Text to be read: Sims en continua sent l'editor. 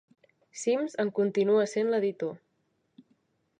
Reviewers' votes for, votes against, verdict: 2, 0, accepted